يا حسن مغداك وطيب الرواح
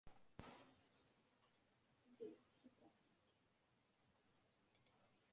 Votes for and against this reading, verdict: 0, 2, rejected